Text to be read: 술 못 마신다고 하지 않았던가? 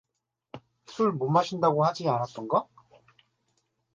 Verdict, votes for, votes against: accepted, 2, 0